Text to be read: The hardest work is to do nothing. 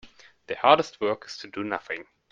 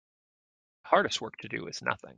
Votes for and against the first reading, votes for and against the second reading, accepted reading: 2, 0, 1, 2, first